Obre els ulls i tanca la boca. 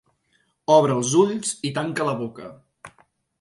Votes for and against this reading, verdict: 3, 0, accepted